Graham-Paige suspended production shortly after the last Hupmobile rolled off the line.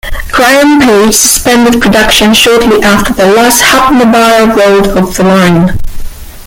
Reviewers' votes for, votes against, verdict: 1, 2, rejected